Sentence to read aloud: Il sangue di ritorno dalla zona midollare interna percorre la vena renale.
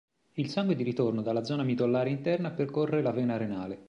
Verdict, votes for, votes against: accepted, 2, 0